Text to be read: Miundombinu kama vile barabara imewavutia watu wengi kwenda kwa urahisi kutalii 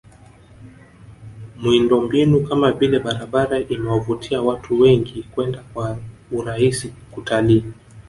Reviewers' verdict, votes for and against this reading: accepted, 3, 0